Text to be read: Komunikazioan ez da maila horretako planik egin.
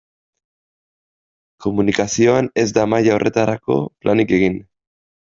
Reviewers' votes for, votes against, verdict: 1, 2, rejected